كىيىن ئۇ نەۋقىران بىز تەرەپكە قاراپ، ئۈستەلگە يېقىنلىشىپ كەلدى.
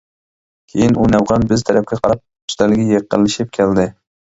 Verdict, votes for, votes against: rejected, 0, 2